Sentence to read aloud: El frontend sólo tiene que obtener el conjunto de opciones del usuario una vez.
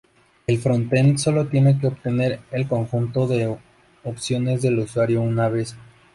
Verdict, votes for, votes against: rejected, 0, 2